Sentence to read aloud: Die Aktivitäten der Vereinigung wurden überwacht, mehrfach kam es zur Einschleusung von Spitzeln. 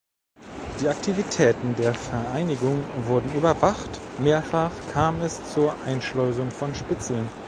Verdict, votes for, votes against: rejected, 1, 2